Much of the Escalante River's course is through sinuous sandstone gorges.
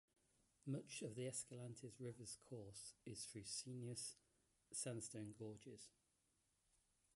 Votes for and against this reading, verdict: 0, 2, rejected